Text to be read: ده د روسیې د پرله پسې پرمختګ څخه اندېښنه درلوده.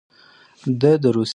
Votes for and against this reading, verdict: 0, 2, rejected